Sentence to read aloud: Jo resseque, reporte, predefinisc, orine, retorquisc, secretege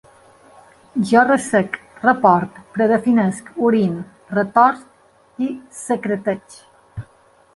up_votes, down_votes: 0, 2